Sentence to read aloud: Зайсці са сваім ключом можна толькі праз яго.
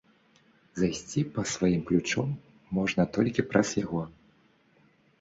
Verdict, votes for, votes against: rejected, 1, 2